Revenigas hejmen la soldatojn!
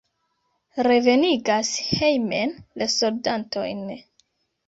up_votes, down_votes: 0, 2